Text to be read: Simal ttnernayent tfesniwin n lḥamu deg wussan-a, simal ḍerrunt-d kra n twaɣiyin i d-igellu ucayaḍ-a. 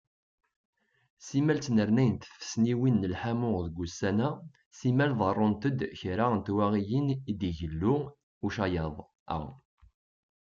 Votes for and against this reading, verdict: 1, 2, rejected